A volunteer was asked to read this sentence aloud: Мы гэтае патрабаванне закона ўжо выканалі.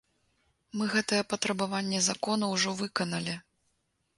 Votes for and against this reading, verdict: 2, 0, accepted